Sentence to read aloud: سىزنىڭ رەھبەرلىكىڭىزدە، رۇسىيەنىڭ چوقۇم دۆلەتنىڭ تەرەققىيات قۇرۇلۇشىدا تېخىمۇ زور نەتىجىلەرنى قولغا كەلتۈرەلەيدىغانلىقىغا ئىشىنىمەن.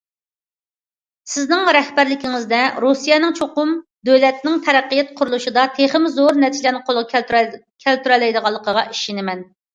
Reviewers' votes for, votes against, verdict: 0, 2, rejected